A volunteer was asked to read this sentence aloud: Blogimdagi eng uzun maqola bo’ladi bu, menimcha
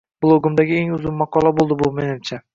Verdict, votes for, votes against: rejected, 0, 2